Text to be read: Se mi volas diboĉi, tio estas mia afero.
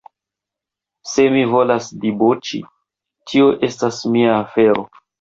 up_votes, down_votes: 2, 1